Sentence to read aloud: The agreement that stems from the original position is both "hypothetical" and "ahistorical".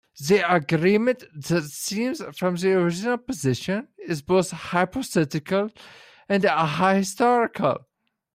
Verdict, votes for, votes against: rejected, 1, 2